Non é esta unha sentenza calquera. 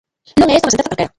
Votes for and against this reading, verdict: 0, 2, rejected